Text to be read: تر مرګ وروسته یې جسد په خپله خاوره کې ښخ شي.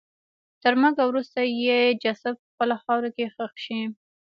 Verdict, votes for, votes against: rejected, 1, 2